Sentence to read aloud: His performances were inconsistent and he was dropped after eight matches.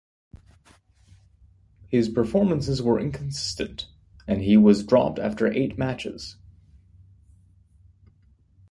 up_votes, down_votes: 2, 1